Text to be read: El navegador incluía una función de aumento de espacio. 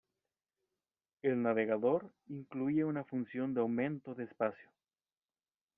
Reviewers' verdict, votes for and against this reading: accepted, 2, 0